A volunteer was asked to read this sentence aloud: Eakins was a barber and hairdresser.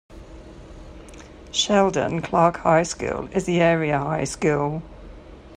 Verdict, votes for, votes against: rejected, 0, 2